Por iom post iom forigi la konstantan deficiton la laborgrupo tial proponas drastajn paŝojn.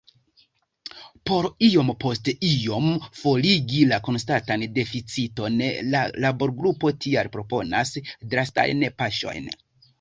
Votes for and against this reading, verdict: 1, 2, rejected